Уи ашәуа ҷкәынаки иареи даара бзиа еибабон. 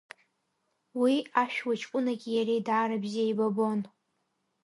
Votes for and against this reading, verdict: 2, 0, accepted